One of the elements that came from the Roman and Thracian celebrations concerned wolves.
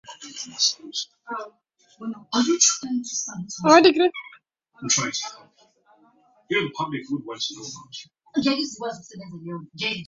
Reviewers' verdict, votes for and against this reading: rejected, 0, 4